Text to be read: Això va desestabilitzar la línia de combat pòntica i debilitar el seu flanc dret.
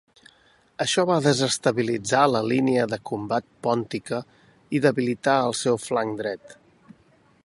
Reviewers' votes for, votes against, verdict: 4, 0, accepted